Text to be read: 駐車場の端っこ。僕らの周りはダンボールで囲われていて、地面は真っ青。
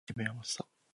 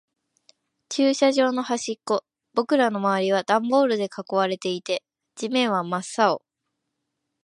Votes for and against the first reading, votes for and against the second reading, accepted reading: 0, 2, 2, 0, second